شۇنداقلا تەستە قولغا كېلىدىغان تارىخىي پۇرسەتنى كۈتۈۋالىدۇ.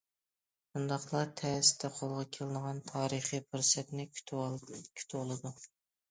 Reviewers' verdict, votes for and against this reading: rejected, 0, 2